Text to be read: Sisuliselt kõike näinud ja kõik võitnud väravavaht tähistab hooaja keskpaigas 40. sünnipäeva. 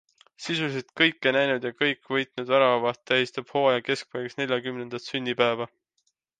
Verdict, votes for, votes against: rejected, 0, 2